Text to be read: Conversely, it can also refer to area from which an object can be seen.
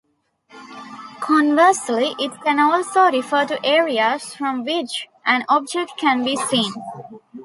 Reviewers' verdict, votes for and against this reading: rejected, 1, 2